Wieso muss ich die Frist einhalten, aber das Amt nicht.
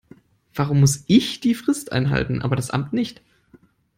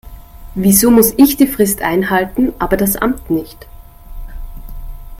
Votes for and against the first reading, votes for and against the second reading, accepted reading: 1, 2, 2, 0, second